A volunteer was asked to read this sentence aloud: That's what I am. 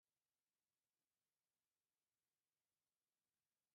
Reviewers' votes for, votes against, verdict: 0, 2, rejected